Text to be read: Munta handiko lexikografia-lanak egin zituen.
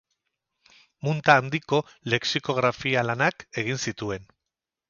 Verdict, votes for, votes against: rejected, 2, 2